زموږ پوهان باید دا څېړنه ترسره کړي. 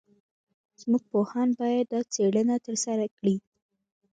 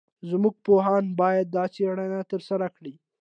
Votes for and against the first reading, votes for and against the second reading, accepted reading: 0, 2, 2, 0, second